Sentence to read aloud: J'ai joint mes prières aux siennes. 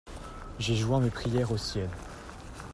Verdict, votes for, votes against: rejected, 0, 2